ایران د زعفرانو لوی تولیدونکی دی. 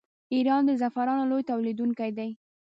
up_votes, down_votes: 0, 2